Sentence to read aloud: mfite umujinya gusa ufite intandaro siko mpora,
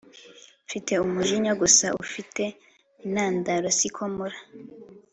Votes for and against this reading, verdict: 3, 0, accepted